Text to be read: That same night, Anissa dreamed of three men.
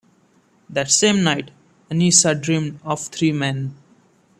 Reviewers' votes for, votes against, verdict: 2, 0, accepted